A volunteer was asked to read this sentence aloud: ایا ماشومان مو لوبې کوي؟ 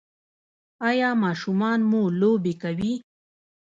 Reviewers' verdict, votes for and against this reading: rejected, 1, 2